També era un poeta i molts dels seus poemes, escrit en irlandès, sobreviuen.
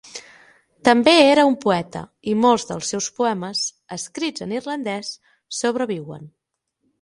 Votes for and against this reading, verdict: 6, 3, accepted